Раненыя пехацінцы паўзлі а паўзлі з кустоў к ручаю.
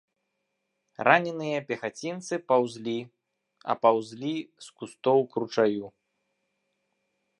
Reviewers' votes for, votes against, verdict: 3, 0, accepted